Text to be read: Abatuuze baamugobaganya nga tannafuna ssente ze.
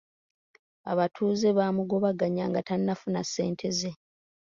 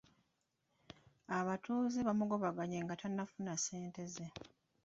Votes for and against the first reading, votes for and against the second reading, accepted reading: 2, 0, 1, 2, first